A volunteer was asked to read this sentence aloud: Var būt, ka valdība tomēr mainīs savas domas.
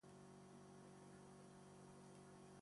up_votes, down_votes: 0, 2